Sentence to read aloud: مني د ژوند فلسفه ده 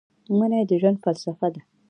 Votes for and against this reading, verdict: 2, 0, accepted